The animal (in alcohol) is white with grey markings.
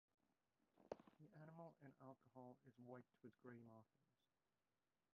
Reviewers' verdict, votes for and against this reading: rejected, 0, 2